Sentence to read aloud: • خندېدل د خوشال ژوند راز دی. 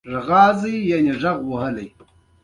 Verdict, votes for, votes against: accepted, 2, 0